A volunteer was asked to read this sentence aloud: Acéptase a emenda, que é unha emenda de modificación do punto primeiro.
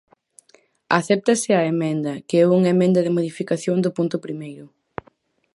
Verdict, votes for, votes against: accepted, 4, 0